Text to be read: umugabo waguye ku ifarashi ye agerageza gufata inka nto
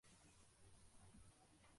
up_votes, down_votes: 0, 2